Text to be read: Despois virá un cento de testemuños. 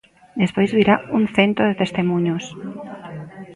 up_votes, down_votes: 0, 2